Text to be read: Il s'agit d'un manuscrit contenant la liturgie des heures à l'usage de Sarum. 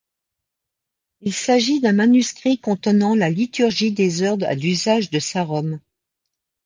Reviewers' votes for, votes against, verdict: 1, 2, rejected